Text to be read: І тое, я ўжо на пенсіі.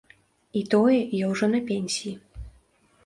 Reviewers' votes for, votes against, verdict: 2, 0, accepted